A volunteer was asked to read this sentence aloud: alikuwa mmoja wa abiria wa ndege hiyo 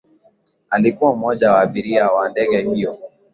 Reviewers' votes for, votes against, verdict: 2, 0, accepted